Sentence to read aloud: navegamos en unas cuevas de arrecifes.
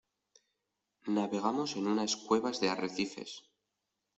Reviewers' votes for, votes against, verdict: 2, 0, accepted